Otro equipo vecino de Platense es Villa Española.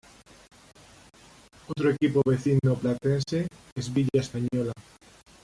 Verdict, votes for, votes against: rejected, 0, 2